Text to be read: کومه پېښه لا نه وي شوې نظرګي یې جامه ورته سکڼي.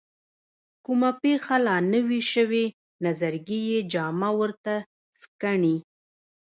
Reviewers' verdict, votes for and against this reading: accepted, 2, 0